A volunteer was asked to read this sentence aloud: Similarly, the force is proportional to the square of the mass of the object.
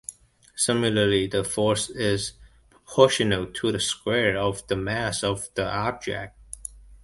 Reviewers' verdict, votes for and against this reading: accepted, 2, 1